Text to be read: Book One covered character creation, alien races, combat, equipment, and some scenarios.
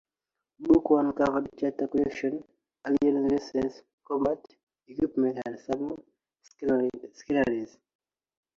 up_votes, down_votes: 0, 2